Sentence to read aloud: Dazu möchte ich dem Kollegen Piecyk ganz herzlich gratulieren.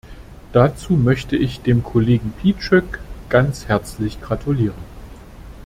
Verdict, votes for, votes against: accepted, 2, 0